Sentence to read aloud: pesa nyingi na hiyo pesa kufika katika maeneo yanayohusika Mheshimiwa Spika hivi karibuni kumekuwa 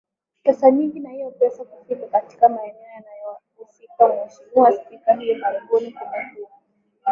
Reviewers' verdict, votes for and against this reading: rejected, 0, 10